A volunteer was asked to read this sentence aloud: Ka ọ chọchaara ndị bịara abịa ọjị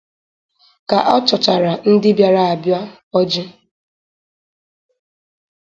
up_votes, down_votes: 4, 0